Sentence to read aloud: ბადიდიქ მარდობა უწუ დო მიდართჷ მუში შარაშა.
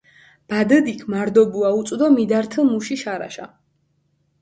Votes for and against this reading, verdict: 4, 0, accepted